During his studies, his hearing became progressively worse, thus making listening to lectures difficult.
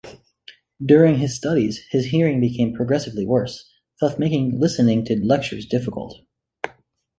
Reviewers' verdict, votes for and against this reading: accepted, 2, 0